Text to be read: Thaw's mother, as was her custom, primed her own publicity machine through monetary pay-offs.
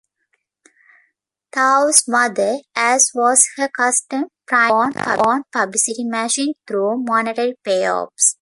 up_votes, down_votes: 0, 2